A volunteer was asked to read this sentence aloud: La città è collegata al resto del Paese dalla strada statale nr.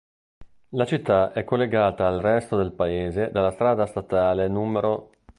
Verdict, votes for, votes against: accepted, 2, 0